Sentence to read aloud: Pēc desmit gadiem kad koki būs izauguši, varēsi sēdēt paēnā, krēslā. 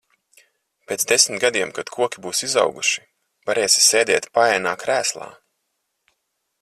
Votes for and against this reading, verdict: 4, 0, accepted